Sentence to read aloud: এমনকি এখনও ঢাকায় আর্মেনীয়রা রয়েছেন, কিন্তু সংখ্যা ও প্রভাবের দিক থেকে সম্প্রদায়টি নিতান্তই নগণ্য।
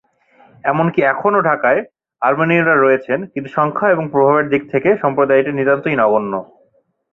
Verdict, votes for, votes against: accepted, 2, 0